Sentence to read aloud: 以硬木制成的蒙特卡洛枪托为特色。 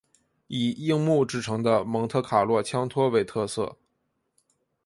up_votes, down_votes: 2, 0